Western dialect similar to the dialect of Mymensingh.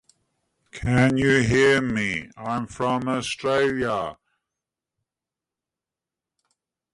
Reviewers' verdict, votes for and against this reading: rejected, 0, 2